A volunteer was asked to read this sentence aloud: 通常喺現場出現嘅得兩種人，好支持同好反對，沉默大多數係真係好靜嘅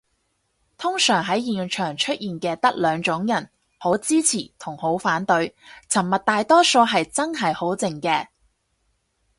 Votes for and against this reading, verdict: 4, 0, accepted